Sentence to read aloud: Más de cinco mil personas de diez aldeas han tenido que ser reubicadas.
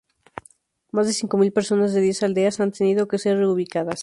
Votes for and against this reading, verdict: 0, 2, rejected